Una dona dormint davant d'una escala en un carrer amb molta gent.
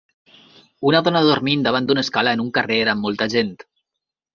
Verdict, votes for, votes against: rejected, 1, 2